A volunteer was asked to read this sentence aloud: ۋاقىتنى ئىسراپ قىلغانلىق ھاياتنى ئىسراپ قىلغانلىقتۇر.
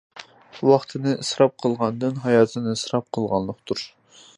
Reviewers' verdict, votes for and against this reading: rejected, 0, 2